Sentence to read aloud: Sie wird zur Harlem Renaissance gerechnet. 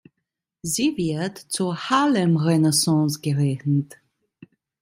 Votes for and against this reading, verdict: 1, 2, rejected